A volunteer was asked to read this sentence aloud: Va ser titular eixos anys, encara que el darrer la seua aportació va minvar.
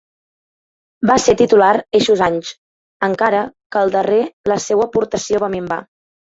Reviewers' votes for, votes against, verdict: 2, 1, accepted